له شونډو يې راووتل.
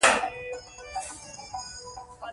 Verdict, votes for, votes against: rejected, 0, 2